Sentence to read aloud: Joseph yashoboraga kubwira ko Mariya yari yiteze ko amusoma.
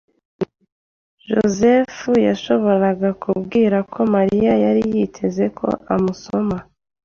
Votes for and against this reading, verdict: 2, 0, accepted